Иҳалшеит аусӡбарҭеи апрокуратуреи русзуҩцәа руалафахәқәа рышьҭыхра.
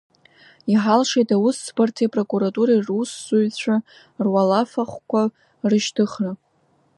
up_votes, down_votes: 2, 0